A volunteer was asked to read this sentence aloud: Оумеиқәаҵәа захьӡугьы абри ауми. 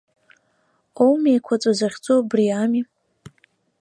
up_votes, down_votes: 1, 2